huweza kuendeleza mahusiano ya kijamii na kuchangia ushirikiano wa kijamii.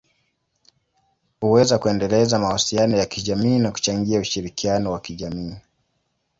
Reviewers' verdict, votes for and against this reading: accepted, 2, 0